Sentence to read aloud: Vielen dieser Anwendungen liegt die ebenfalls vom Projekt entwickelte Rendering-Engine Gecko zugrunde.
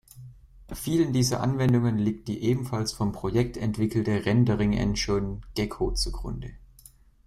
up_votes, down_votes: 2, 0